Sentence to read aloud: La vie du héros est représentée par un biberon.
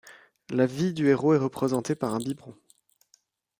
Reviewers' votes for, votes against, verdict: 2, 1, accepted